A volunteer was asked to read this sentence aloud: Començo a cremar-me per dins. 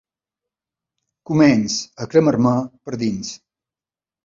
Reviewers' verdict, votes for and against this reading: rejected, 1, 2